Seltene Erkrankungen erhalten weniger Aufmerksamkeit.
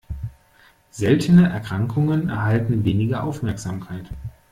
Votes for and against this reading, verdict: 2, 0, accepted